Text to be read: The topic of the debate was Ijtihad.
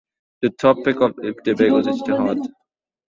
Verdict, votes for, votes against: rejected, 1, 2